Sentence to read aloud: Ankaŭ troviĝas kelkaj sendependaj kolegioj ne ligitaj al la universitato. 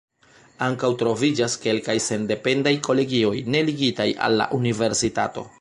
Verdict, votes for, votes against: accepted, 2, 0